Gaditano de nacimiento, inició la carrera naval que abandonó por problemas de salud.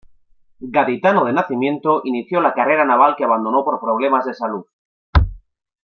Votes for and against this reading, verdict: 2, 0, accepted